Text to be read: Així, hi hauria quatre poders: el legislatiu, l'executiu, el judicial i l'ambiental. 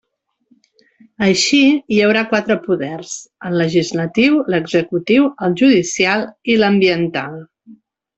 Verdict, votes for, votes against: rejected, 0, 3